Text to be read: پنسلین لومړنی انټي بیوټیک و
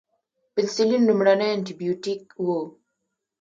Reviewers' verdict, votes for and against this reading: rejected, 0, 2